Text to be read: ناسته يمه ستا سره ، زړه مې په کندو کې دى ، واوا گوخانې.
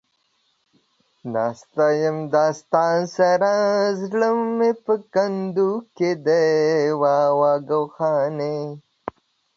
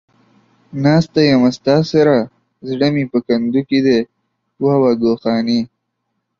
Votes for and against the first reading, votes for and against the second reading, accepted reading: 2, 0, 1, 2, first